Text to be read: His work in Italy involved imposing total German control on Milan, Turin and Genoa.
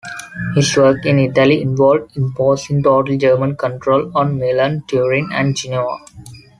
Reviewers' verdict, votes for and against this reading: rejected, 1, 2